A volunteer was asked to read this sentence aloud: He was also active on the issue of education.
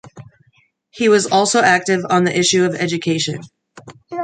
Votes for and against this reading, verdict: 2, 0, accepted